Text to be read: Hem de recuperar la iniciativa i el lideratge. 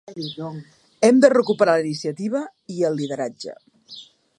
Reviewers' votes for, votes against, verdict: 0, 2, rejected